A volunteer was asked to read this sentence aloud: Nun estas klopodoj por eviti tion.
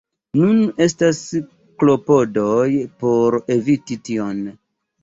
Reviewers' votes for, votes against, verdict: 2, 0, accepted